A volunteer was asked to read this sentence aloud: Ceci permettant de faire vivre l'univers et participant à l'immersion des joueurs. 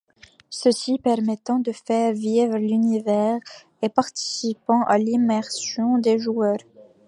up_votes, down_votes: 2, 0